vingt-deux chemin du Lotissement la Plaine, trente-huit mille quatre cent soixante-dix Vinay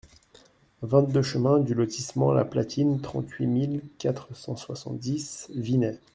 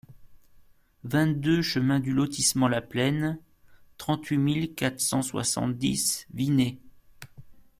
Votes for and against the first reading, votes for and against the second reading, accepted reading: 0, 2, 2, 0, second